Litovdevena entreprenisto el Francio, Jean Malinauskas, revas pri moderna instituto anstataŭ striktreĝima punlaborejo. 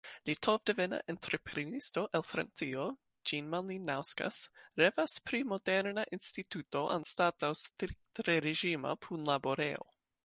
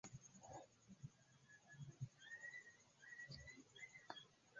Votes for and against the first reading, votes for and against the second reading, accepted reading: 2, 0, 1, 2, first